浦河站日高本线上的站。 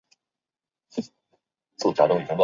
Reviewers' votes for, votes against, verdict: 1, 2, rejected